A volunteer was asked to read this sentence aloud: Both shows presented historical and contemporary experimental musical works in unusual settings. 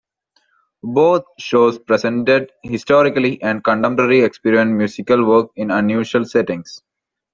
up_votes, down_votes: 2, 1